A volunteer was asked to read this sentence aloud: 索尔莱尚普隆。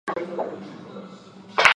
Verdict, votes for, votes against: rejected, 0, 2